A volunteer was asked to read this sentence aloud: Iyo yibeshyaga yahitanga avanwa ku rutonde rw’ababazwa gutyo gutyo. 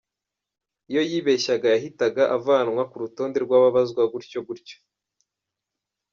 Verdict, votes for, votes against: rejected, 1, 2